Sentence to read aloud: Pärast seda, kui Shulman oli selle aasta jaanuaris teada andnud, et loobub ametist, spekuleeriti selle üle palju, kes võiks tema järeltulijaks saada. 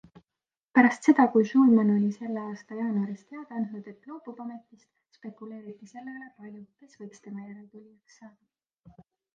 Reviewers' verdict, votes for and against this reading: rejected, 1, 2